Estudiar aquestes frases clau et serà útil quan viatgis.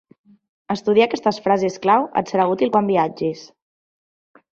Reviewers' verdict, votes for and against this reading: accepted, 2, 0